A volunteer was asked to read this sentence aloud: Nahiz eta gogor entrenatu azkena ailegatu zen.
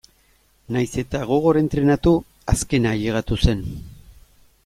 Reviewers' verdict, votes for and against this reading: accepted, 2, 0